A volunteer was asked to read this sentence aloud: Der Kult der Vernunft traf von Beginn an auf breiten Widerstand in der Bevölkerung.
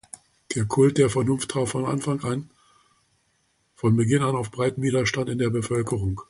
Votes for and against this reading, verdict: 0, 2, rejected